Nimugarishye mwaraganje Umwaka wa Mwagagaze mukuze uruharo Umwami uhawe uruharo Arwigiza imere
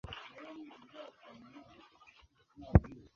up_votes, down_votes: 1, 2